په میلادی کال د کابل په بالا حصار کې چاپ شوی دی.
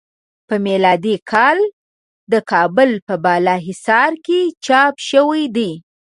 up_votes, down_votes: 2, 0